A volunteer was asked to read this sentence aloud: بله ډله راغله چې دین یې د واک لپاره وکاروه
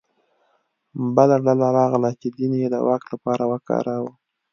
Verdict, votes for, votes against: accepted, 2, 0